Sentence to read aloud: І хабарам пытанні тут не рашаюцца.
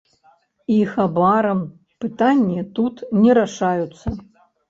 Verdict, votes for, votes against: rejected, 0, 2